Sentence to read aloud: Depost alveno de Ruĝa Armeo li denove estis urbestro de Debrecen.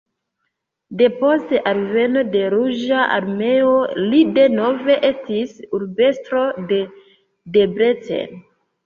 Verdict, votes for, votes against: accepted, 2, 1